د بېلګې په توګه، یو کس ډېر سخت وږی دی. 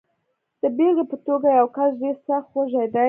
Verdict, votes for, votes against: rejected, 1, 2